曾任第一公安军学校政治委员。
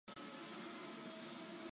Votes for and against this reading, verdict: 1, 2, rejected